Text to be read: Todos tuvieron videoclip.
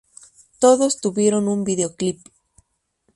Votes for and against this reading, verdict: 0, 2, rejected